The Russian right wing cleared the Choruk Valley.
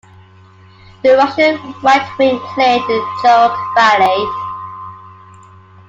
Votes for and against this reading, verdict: 0, 2, rejected